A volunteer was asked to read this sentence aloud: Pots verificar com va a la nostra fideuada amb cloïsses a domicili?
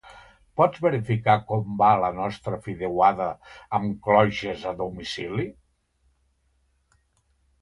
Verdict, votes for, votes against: rejected, 0, 2